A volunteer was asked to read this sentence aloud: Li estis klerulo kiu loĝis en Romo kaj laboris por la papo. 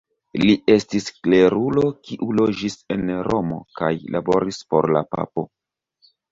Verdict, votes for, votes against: accepted, 2, 1